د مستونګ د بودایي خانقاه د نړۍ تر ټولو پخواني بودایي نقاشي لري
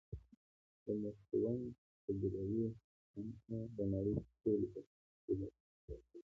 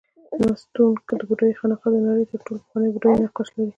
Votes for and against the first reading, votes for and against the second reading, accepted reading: 2, 1, 0, 2, first